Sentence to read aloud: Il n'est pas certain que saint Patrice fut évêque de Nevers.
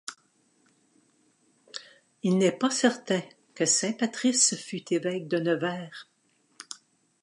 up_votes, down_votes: 2, 0